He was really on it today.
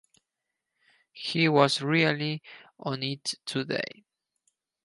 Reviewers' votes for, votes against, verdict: 4, 0, accepted